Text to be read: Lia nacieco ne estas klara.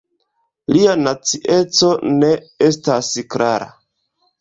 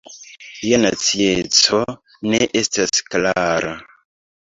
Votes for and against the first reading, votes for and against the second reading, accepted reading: 1, 2, 2, 1, second